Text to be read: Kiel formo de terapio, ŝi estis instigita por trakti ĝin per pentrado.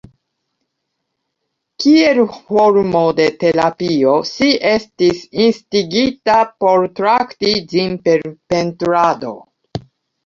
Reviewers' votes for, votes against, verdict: 1, 2, rejected